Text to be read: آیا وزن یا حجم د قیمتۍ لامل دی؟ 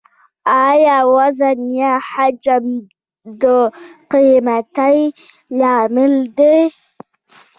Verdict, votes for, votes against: accepted, 2, 1